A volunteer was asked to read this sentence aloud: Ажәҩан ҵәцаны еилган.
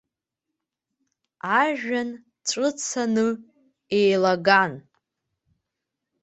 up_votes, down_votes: 0, 2